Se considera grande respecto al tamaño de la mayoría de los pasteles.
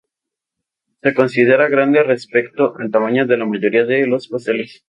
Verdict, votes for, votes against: rejected, 0, 2